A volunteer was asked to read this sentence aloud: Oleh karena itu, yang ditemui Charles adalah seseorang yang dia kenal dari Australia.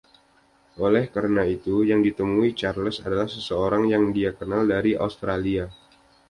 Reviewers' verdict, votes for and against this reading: accepted, 2, 0